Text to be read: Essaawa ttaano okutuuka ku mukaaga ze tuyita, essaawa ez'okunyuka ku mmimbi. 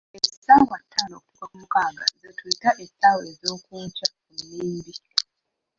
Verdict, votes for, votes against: rejected, 0, 2